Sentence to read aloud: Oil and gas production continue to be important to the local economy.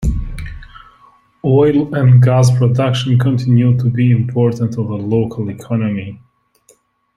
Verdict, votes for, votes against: accepted, 2, 0